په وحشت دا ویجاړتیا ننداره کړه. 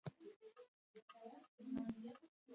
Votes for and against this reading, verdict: 1, 2, rejected